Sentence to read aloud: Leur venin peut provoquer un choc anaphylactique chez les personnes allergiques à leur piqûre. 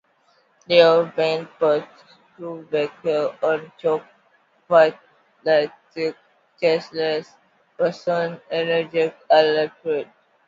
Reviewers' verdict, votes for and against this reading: rejected, 0, 2